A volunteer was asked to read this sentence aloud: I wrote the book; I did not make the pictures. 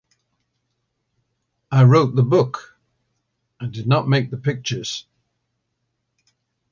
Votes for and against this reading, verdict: 2, 0, accepted